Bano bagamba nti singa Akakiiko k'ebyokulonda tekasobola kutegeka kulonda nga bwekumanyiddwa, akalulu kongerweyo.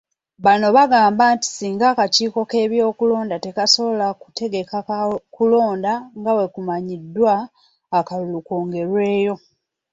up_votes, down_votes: 0, 2